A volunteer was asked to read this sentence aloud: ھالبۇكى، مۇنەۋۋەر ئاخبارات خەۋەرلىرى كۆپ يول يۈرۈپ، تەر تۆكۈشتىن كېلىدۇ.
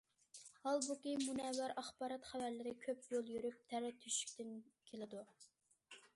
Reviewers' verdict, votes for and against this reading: rejected, 0, 2